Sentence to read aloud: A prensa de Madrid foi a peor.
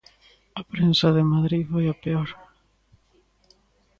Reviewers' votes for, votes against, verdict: 1, 2, rejected